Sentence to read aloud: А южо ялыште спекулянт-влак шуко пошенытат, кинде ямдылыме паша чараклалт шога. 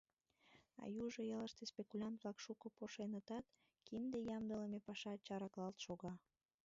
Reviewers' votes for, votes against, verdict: 1, 2, rejected